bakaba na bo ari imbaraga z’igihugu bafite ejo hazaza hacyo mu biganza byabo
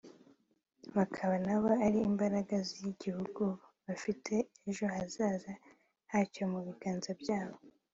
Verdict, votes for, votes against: rejected, 1, 2